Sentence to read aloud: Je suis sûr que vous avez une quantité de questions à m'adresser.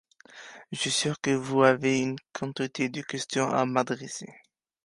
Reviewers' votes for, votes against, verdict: 2, 0, accepted